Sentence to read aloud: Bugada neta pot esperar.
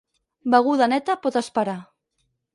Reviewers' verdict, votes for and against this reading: rejected, 2, 4